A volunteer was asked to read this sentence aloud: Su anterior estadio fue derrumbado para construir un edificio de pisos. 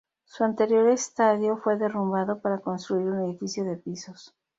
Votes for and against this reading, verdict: 0, 2, rejected